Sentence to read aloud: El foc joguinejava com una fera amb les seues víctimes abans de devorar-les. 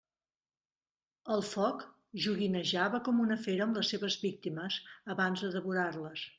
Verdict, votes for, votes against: rejected, 0, 2